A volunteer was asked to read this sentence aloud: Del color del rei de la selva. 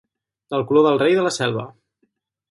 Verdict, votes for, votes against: rejected, 0, 2